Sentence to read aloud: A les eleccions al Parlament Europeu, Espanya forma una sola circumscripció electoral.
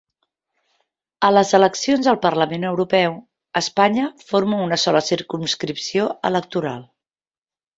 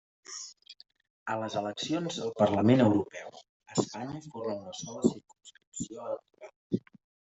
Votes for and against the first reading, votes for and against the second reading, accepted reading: 3, 0, 1, 2, first